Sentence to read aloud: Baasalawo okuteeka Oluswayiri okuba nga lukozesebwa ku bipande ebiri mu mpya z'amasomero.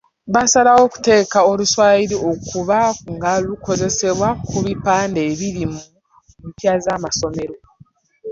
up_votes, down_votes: 1, 2